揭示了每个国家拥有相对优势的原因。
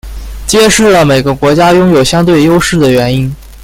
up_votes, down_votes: 0, 2